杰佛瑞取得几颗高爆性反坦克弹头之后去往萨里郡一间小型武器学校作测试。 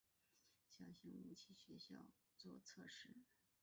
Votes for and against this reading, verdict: 0, 3, rejected